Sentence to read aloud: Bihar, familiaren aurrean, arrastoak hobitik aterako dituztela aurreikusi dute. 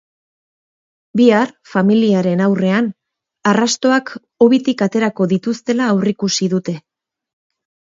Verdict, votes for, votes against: accepted, 4, 0